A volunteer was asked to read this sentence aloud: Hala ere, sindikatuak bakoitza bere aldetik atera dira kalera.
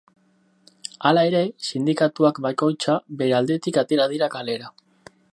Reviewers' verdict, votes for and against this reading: rejected, 2, 2